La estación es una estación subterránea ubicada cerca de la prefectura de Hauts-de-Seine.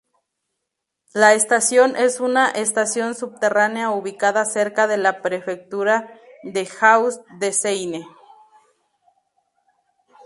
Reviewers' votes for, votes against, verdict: 2, 0, accepted